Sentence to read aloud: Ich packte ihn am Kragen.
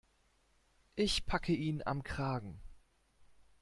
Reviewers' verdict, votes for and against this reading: rejected, 1, 2